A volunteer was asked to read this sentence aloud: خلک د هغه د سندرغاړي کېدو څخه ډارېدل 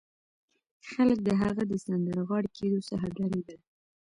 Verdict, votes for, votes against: rejected, 1, 2